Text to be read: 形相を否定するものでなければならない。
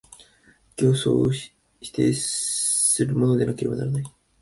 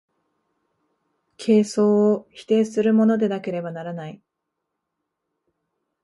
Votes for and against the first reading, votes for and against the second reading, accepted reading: 1, 2, 2, 1, second